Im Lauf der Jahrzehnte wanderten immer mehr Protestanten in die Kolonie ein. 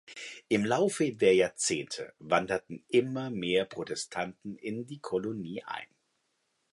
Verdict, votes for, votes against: rejected, 0, 2